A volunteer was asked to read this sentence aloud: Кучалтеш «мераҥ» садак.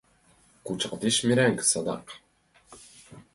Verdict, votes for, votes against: rejected, 1, 2